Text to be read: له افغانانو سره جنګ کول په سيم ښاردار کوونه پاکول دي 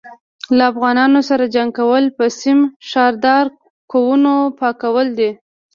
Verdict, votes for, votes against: rejected, 1, 2